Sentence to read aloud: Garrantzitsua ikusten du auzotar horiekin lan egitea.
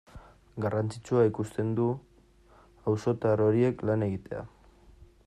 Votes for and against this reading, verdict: 0, 2, rejected